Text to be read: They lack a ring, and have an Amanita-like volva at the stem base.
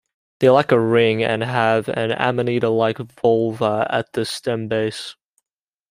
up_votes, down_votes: 1, 2